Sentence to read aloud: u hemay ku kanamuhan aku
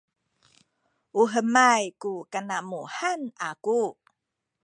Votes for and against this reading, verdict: 0, 2, rejected